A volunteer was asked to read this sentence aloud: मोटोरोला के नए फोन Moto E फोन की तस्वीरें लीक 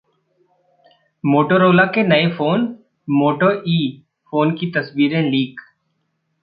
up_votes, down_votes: 2, 0